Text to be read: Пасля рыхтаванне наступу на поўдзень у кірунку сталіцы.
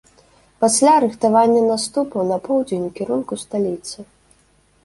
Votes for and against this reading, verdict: 2, 0, accepted